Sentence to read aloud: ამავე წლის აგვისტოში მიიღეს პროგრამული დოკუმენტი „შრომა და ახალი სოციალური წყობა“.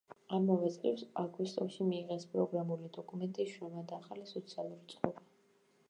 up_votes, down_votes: 1, 2